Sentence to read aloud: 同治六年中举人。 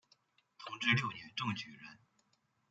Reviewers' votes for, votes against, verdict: 2, 1, accepted